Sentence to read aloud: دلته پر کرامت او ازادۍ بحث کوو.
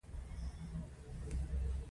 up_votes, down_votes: 0, 2